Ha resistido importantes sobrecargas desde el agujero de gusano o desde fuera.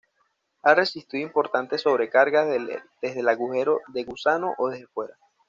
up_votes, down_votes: 2, 0